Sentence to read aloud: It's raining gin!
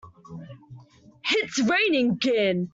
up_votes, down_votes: 0, 2